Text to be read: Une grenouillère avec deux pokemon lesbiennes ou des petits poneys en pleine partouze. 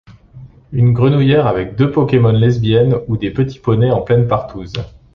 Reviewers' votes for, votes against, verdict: 2, 0, accepted